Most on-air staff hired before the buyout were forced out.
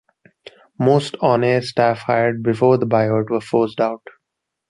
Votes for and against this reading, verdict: 2, 0, accepted